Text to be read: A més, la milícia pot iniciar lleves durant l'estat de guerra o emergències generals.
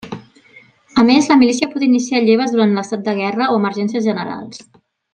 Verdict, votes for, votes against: accepted, 3, 0